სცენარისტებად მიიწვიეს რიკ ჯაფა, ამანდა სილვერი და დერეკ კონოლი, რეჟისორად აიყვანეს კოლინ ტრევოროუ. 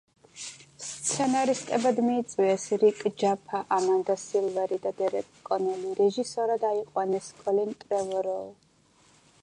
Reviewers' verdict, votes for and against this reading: accepted, 2, 1